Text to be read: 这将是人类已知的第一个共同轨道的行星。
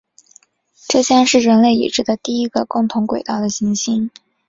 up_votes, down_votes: 2, 1